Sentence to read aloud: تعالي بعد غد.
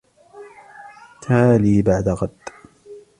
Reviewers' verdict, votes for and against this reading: accepted, 2, 0